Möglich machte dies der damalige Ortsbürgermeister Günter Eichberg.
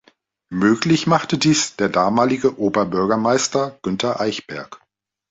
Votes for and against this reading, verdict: 0, 2, rejected